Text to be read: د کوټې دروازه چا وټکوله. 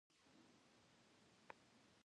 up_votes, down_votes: 0, 2